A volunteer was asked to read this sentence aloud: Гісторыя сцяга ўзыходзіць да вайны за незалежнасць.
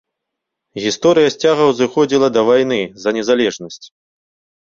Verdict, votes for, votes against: rejected, 1, 2